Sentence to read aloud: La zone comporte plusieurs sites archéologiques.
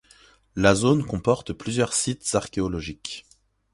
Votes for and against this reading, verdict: 2, 0, accepted